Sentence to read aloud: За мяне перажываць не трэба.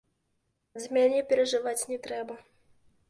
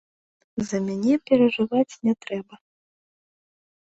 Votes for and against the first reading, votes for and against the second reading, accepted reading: 0, 2, 2, 0, second